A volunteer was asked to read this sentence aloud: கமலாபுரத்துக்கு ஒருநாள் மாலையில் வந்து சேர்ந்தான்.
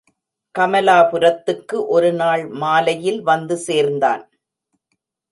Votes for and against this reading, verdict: 2, 0, accepted